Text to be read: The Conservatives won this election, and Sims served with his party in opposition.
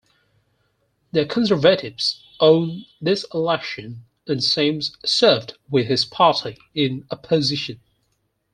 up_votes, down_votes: 2, 4